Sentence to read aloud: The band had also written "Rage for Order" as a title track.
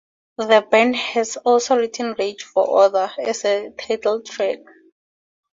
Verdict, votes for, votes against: rejected, 0, 2